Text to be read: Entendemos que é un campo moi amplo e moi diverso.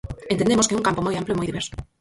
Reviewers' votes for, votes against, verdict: 2, 4, rejected